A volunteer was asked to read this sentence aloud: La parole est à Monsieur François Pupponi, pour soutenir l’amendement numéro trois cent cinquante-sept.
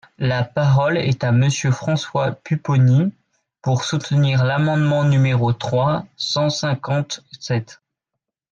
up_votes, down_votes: 2, 3